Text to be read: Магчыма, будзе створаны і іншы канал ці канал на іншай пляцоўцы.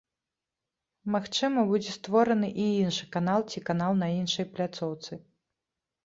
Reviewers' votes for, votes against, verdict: 2, 0, accepted